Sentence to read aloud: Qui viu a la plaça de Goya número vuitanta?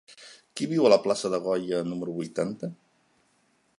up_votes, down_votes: 3, 0